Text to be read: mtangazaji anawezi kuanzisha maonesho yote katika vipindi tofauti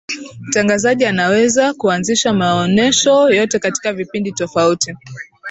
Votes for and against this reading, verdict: 2, 0, accepted